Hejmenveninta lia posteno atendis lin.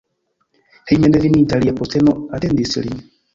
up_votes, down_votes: 0, 2